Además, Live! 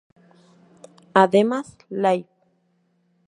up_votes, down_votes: 2, 0